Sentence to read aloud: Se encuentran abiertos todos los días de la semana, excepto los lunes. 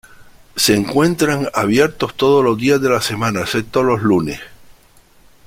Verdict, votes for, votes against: accepted, 2, 1